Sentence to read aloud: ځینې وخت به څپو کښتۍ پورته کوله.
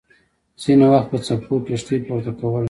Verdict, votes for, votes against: rejected, 0, 2